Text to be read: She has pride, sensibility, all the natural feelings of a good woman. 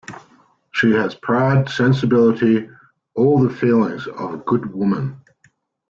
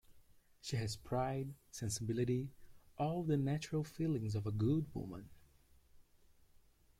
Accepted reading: second